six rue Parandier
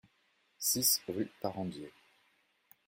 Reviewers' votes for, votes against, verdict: 2, 0, accepted